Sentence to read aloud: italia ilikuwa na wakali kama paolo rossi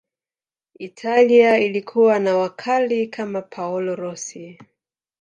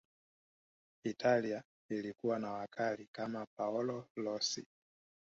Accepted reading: second